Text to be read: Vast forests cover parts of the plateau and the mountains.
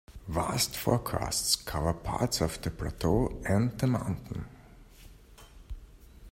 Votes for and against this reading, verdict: 0, 2, rejected